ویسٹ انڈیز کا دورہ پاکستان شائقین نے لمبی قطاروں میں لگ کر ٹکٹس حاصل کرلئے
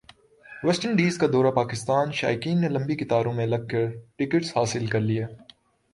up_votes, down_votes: 2, 0